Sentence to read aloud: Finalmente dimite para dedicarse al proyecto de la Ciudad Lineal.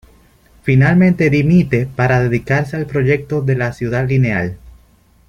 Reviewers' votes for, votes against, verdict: 2, 0, accepted